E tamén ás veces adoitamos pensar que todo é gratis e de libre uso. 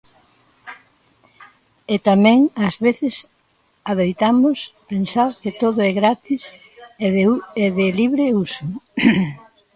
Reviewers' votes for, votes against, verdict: 0, 2, rejected